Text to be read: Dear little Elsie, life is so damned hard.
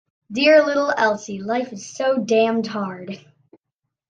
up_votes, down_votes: 2, 1